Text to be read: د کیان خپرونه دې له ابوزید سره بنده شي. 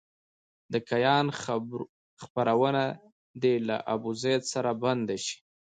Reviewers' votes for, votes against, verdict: 1, 2, rejected